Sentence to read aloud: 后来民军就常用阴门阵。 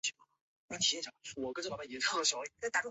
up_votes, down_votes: 0, 2